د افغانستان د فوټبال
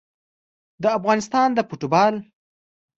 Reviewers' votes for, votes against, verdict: 2, 0, accepted